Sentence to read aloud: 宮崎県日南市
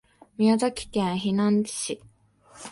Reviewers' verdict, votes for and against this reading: accepted, 2, 1